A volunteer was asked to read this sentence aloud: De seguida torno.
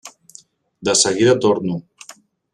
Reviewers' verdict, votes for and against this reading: accepted, 3, 0